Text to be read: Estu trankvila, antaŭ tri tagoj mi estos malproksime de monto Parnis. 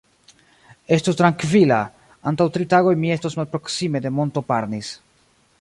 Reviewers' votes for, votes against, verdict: 1, 2, rejected